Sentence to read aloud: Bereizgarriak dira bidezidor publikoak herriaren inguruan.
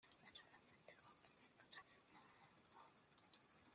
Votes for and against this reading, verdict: 0, 2, rejected